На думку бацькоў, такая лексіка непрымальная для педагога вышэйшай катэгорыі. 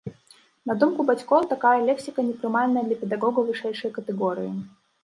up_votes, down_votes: 0, 2